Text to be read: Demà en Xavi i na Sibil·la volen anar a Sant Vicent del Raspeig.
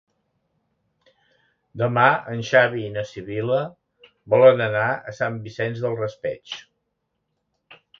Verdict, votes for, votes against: accepted, 2, 0